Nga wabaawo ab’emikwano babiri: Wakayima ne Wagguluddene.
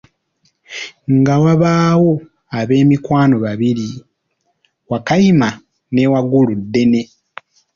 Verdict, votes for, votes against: accepted, 2, 0